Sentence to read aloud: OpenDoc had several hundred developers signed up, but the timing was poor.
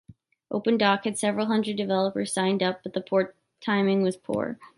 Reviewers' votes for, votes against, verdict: 0, 2, rejected